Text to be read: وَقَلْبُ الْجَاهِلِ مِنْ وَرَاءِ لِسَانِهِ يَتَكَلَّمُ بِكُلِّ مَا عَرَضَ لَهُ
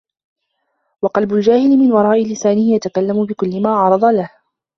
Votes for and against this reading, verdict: 1, 2, rejected